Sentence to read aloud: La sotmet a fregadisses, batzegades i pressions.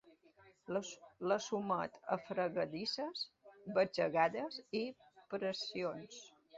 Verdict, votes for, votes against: rejected, 0, 2